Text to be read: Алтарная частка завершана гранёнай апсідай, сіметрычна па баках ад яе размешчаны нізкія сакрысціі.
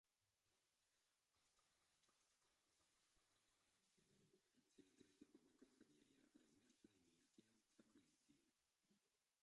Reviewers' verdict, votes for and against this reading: rejected, 0, 2